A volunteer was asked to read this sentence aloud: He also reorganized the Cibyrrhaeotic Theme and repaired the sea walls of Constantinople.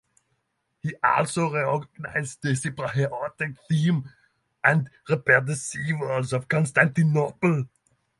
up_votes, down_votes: 0, 3